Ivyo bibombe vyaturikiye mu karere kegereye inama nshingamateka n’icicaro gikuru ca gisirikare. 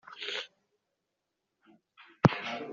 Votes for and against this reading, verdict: 0, 2, rejected